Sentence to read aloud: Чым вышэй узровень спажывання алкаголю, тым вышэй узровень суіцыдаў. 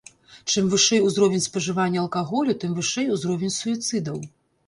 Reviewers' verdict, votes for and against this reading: accepted, 2, 0